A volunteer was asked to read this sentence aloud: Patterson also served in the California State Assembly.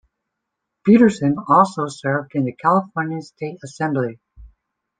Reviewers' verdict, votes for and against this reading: rejected, 1, 2